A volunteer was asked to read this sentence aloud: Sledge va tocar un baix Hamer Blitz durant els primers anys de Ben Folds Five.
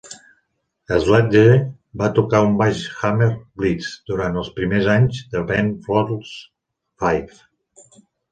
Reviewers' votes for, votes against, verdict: 3, 1, accepted